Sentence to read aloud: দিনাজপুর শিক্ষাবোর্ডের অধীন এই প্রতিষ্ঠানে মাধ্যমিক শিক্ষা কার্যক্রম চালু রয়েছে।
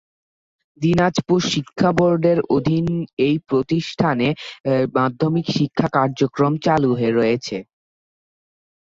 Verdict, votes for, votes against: rejected, 3, 4